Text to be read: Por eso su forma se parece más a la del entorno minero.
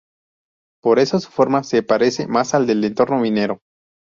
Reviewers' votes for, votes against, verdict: 2, 2, rejected